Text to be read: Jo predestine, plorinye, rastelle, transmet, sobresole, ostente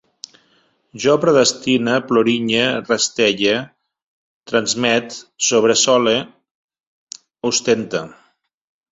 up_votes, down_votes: 2, 0